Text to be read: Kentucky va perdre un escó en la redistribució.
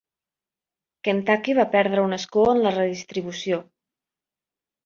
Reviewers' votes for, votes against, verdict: 3, 0, accepted